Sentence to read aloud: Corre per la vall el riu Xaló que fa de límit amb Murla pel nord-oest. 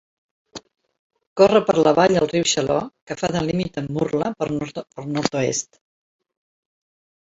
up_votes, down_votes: 0, 2